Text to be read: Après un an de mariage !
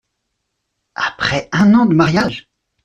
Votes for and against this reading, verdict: 2, 0, accepted